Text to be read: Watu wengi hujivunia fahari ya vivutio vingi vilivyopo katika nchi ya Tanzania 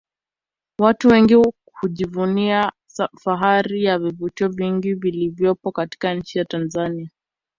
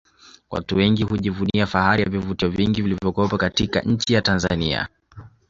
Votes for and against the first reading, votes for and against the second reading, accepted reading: 0, 2, 2, 0, second